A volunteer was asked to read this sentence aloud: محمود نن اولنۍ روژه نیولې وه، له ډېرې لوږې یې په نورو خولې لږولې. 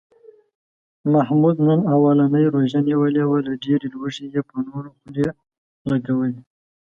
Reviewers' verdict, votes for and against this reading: accepted, 2, 0